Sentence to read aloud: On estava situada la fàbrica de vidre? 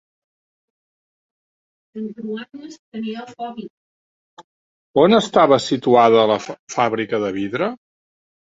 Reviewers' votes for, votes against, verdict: 1, 3, rejected